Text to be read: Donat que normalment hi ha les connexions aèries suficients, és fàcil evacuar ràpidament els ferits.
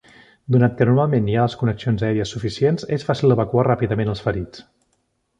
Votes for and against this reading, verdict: 2, 0, accepted